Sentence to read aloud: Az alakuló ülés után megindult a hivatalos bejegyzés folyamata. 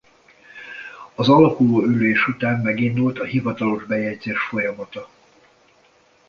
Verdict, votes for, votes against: accepted, 2, 0